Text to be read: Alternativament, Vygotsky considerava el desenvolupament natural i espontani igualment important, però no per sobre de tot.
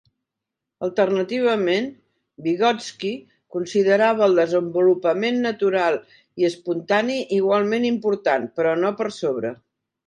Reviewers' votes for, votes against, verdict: 0, 3, rejected